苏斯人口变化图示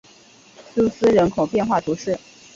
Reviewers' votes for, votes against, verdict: 2, 0, accepted